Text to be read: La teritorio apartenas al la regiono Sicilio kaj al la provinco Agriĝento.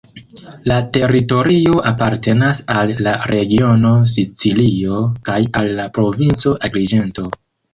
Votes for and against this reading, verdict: 1, 2, rejected